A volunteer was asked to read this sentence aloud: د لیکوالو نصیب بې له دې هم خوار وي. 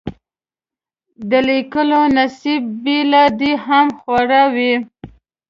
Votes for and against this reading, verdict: 2, 3, rejected